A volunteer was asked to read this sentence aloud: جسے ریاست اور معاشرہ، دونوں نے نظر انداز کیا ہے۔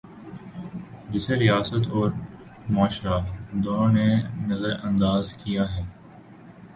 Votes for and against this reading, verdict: 2, 0, accepted